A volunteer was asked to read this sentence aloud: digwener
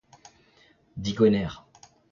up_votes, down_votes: 0, 2